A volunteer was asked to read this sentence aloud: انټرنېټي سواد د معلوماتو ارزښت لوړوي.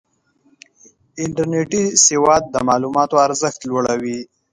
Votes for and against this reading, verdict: 2, 1, accepted